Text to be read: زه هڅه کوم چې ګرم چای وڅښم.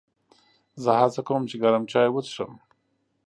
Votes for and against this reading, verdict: 2, 0, accepted